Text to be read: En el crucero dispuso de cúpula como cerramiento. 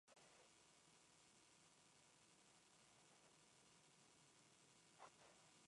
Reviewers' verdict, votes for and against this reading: rejected, 0, 2